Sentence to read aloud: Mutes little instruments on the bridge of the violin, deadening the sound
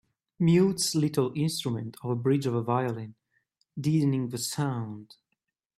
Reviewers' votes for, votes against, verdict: 1, 3, rejected